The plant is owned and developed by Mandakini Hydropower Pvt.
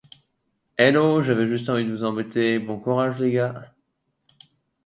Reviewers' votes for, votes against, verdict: 0, 2, rejected